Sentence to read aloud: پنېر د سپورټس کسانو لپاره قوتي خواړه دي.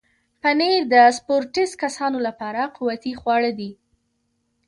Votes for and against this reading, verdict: 2, 0, accepted